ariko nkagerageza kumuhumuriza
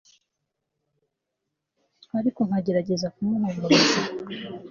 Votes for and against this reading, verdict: 2, 0, accepted